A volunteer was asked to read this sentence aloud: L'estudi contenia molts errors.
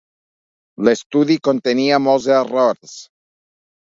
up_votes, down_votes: 2, 0